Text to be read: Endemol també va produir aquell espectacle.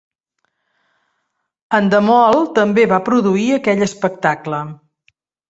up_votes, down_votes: 3, 0